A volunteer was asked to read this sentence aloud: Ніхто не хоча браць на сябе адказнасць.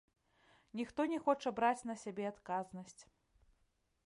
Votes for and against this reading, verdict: 2, 0, accepted